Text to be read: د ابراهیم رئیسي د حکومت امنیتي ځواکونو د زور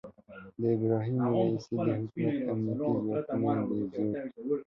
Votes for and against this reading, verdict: 1, 2, rejected